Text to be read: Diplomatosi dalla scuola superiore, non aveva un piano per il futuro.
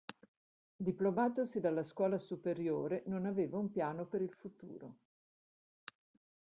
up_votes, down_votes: 2, 0